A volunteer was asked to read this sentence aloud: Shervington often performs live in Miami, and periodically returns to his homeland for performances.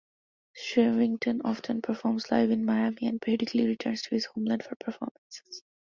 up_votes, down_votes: 0, 2